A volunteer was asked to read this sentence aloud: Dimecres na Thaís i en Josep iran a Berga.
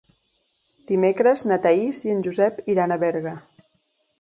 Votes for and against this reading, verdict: 4, 0, accepted